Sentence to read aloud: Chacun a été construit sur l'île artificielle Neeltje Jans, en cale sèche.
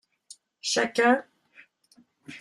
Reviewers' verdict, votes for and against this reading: rejected, 0, 2